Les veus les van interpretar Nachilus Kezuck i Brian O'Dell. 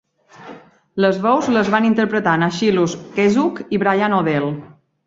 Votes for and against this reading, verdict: 2, 1, accepted